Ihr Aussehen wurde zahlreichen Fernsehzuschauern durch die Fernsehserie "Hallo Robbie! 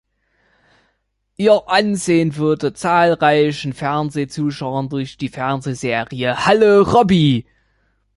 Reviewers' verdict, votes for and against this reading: rejected, 1, 3